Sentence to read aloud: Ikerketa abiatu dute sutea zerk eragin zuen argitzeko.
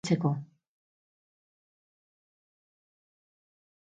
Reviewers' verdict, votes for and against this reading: rejected, 0, 6